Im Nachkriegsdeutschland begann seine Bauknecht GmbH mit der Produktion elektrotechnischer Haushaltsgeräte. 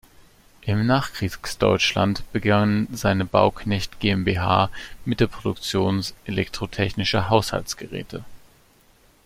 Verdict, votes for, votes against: rejected, 1, 2